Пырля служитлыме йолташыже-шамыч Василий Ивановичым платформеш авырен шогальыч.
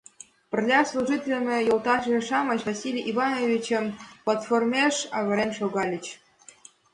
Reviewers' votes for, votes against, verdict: 2, 0, accepted